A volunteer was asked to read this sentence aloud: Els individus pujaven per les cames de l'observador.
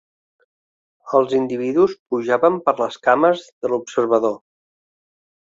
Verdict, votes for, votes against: accepted, 3, 0